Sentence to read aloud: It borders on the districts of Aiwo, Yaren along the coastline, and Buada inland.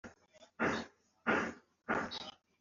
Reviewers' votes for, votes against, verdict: 0, 2, rejected